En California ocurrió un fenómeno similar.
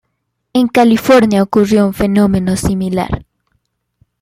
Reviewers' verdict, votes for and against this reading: accepted, 2, 0